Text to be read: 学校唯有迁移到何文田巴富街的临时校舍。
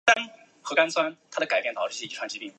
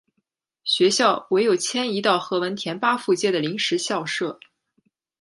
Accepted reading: second